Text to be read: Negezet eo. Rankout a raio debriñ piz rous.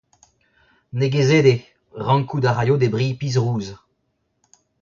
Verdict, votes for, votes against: rejected, 0, 2